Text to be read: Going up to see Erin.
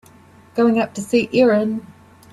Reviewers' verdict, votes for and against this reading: accepted, 2, 1